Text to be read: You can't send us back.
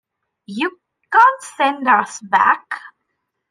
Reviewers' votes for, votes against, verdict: 2, 0, accepted